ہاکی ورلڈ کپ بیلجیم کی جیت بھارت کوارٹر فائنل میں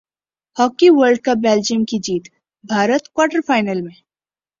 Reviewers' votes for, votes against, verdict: 2, 0, accepted